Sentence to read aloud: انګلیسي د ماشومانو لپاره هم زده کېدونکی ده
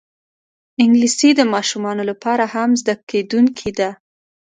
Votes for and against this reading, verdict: 2, 0, accepted